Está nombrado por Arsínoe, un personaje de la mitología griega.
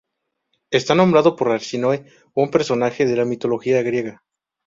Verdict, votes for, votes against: accepted, 4, 0